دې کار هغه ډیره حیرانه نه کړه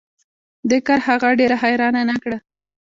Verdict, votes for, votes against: accepted, 2, 0